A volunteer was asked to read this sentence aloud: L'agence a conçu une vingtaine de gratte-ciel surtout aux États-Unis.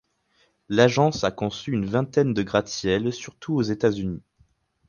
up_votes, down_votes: 4, 0